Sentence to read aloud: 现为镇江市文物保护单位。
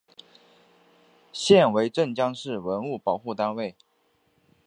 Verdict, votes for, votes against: accepted, 6, 0